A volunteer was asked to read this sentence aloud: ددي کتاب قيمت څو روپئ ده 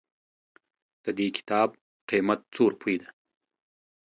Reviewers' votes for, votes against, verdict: 2, 0, accepted